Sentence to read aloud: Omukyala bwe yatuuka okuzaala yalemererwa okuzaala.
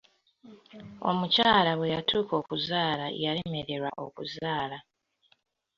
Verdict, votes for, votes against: accepted, 2, 0